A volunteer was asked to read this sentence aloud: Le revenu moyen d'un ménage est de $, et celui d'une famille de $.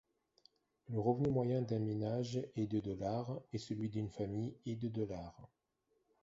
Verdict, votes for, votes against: rejected, 1, 2